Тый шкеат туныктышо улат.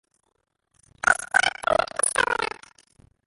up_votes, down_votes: 0, 2